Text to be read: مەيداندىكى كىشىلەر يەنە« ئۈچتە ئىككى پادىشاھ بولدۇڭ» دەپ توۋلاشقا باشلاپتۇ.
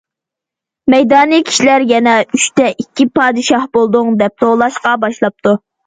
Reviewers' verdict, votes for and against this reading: rejected, 0, 2